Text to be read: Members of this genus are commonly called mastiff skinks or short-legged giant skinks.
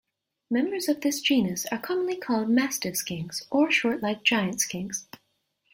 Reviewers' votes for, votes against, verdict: 2, 0, accepted